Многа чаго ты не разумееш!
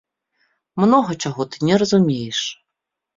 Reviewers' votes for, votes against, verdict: 2, 0, accepted